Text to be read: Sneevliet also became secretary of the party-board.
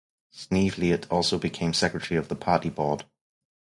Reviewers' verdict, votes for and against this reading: accepted, 4, 0